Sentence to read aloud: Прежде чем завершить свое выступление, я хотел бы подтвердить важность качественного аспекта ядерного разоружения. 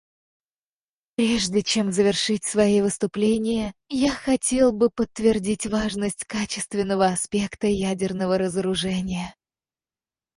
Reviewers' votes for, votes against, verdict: 0, 4, rejected